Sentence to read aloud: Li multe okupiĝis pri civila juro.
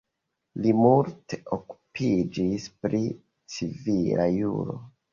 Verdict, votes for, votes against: accepted, 2, 0